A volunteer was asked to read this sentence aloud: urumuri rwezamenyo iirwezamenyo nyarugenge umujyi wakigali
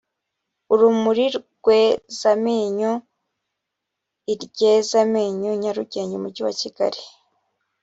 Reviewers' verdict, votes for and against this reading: rejected, 1, 2